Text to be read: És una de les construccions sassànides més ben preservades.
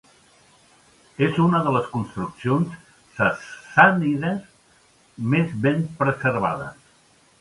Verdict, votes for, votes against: accepted, 4, 0